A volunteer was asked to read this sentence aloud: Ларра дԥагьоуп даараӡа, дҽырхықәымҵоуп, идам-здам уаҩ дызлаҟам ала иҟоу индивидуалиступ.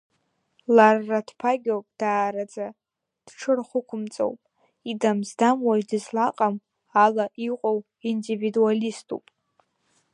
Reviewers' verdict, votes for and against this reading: accepted, 2, 1